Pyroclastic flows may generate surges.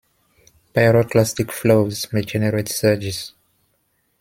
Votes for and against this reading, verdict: 2, 0, accepted